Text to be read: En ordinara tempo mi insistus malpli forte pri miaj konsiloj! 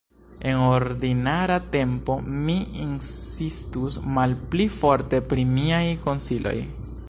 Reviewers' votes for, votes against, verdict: 0, 2, rejected